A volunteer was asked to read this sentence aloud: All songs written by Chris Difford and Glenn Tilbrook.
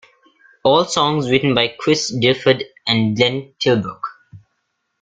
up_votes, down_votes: 2, 3